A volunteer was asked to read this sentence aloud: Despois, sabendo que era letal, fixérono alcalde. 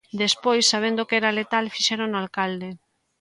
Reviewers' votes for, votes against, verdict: 2, 0, accepted